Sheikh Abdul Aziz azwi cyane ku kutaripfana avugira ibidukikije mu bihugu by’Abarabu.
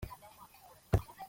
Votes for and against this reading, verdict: 0, 2, rejected